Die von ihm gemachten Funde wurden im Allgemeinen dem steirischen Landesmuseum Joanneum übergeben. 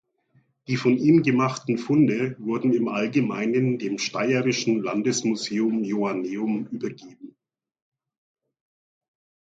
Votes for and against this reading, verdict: 1, 2, rejected